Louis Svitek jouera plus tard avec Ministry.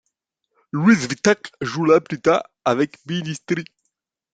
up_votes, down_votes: 1, 2